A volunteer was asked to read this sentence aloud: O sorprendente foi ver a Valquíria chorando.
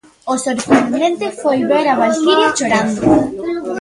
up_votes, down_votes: 0, 2